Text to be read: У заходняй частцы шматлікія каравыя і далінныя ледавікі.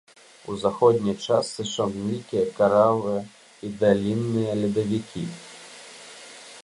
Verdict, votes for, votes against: rejected, 0, 2